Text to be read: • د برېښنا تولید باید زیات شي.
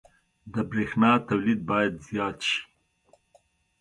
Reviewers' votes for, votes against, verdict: 2, 0, accepted